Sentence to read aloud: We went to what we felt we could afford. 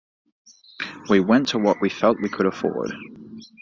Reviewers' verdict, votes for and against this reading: accepted, 2, 1